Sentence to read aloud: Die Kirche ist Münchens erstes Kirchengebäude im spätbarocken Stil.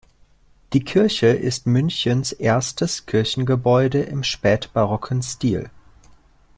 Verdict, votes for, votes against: accepted, 2, 0